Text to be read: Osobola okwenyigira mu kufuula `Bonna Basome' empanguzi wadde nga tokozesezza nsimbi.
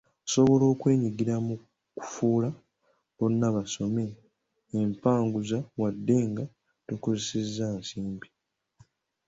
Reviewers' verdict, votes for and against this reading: rejected, 0, 2